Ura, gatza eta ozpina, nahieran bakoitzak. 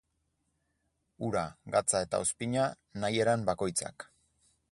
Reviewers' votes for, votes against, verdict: 4, 0, accepted